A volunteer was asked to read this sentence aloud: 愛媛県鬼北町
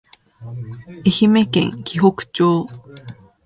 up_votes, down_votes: 3, 0